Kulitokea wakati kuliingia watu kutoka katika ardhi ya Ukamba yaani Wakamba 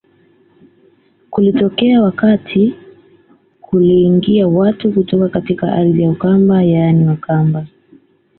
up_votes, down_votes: 2, 0